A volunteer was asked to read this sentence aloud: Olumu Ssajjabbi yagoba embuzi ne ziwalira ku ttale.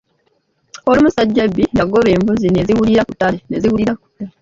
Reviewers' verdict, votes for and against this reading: rejected, 0, 2